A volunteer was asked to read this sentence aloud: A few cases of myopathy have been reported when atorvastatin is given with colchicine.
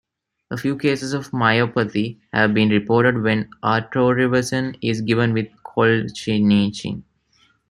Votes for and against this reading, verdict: 1, 2, rejected